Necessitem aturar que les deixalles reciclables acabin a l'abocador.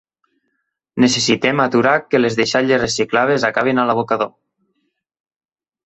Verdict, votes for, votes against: rejected, 0, 2